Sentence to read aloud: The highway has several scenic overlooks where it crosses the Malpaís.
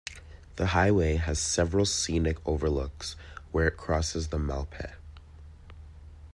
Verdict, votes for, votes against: rejected, 0, 2